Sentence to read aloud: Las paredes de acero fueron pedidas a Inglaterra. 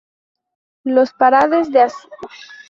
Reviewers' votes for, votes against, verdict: 0, 2, rejected